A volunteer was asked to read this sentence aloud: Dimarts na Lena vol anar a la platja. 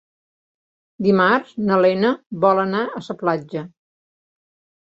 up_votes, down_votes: 0, 2